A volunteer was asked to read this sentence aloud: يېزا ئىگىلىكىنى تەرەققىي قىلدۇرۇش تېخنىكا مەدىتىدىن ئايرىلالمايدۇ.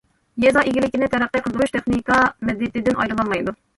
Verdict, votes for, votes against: rejected, 0, 2